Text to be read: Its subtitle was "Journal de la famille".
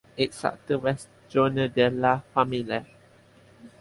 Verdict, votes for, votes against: accepted, 2, 0